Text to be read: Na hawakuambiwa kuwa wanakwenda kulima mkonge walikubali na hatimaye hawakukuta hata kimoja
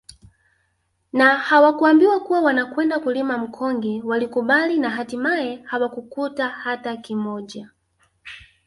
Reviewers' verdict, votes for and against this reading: accepted, 3, 0